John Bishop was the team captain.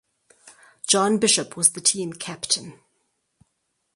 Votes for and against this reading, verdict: 4, 2, accepted